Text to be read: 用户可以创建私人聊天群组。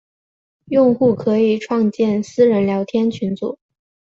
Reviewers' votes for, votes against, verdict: 3, 0, accepted